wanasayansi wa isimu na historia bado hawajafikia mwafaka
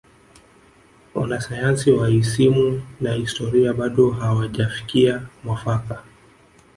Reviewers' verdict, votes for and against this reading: accepted, 2, 1